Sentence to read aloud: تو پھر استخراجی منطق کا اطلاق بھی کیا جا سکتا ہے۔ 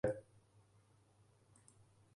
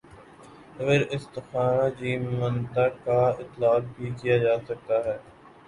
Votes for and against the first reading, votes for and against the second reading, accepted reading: 0, 2, 2, 0, second